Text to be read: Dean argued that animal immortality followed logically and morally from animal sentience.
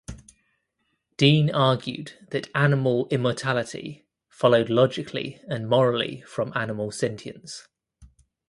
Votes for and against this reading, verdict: 2, 0, accepted